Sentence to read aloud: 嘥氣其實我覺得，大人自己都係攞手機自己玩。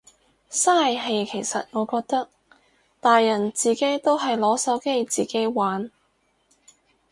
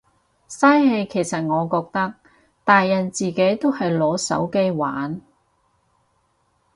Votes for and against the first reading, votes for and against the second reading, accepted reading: 6, 0, 2, 2, first